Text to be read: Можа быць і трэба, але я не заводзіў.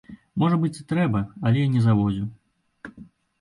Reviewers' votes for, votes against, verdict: 2, 0, accepted